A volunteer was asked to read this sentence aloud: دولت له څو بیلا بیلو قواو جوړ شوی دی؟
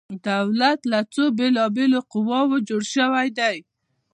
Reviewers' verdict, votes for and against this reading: accepted, 2, 0